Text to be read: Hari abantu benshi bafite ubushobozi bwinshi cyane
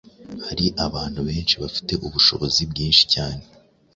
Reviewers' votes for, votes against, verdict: 2, 0, accepted